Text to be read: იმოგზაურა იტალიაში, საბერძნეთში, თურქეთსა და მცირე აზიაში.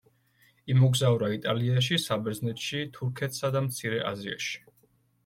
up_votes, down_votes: 2, 1